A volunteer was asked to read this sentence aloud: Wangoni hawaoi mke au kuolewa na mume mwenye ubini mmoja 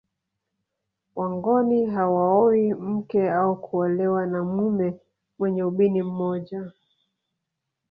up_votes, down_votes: 1, 2